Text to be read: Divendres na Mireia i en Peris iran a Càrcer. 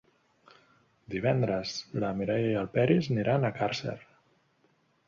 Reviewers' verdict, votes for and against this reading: rejected, 0, 2